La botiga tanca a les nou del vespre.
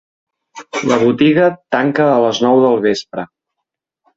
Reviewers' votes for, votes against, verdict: 2, 0, accepted